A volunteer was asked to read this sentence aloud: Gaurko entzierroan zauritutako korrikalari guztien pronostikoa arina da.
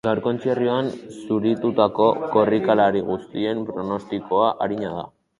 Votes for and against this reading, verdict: 2, 2, rejected